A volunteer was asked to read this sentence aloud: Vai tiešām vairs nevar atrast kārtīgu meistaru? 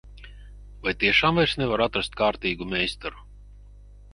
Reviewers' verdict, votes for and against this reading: rejected, 2, 2